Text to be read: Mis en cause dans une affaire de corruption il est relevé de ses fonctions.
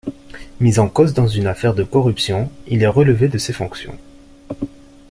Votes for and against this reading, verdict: 2, 0, accepted